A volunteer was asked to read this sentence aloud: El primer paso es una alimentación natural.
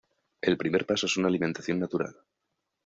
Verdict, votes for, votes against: accepted, 2, 0